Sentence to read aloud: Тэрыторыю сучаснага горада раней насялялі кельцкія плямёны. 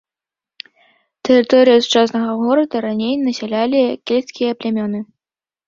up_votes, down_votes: 2, 0